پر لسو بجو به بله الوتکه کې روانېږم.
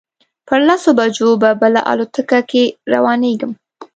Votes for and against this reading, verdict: 2, 0, accepted